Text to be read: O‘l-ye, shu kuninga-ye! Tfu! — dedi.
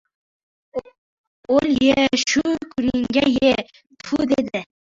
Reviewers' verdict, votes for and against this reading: rejected, 0, 2